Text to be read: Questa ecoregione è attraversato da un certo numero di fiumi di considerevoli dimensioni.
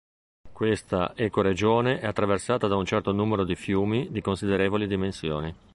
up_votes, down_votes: 1, 2